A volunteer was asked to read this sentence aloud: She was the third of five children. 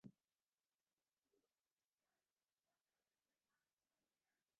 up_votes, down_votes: 0, 2